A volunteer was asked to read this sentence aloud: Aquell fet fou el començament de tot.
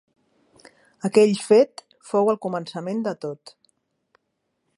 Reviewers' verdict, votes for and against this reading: accepted, 5, 0